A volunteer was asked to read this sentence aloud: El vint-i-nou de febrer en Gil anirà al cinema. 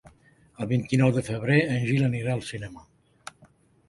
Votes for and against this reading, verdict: 3, 0, accepted